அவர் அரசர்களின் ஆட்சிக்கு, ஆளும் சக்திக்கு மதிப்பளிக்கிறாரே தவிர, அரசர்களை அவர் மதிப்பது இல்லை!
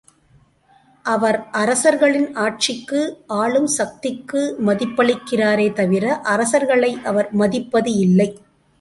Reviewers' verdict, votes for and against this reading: accepted, 2, 0